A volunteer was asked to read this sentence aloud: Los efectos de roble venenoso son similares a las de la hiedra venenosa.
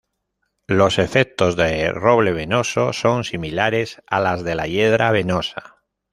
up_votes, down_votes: 0, 2